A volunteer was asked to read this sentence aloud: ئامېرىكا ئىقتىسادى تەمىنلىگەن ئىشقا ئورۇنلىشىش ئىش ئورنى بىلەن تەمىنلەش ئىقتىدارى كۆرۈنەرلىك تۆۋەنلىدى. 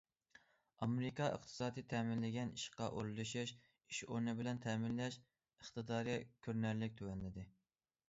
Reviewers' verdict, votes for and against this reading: accepted, 2, 0